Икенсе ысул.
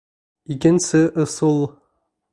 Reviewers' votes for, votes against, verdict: 2, 0, accepted